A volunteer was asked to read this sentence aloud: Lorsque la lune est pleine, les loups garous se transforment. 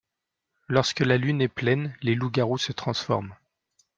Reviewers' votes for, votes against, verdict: 2, 0, accepted